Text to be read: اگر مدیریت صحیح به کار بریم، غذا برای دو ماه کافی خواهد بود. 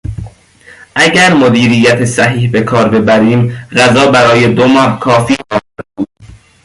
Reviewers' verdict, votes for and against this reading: rejected, 1, 2